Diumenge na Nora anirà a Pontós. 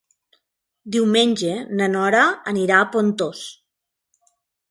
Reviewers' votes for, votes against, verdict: 4, 1, accepted